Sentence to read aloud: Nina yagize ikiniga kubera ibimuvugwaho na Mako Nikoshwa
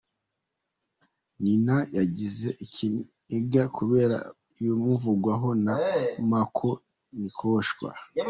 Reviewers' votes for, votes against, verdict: 0, 2, rejected